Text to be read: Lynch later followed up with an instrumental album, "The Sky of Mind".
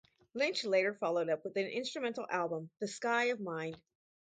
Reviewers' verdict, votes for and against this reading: rejected, 2, 2